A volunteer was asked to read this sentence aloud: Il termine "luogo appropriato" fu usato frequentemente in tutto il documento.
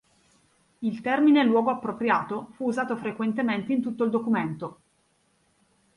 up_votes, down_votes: 2, 0